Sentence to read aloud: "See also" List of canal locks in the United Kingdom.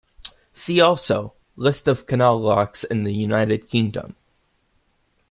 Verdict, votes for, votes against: accepted, 2, 0